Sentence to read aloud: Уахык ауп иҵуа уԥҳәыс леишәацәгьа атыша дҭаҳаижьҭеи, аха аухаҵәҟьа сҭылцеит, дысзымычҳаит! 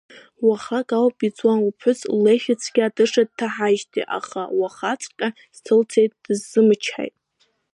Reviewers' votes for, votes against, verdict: 0, 2, rejected